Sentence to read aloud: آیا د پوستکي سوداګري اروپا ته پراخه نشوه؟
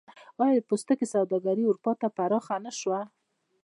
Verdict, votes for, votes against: rejected, 0, 2